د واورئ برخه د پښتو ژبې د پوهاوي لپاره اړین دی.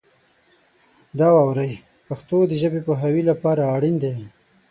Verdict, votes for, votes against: rejected, 0, 6